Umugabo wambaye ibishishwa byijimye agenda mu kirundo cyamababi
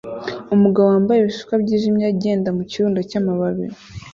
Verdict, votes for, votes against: accepted, 2, 0